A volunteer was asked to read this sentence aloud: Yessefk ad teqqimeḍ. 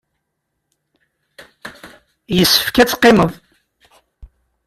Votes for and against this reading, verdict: 2, 0, accepted